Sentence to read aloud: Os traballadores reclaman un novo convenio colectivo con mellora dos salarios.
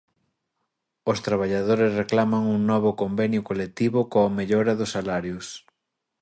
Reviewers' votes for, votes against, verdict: 1, 2, rejected